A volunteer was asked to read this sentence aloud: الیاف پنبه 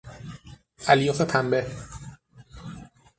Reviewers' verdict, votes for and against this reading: accepted, 6, 0